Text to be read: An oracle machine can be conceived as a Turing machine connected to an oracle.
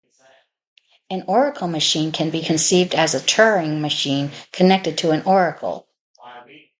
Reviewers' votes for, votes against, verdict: 0, 2, rejected